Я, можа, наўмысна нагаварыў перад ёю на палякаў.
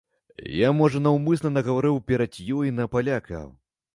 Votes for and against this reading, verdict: 1, 2, rejected